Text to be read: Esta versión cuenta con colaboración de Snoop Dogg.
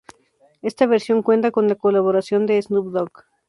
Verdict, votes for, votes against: accepted, 2, 0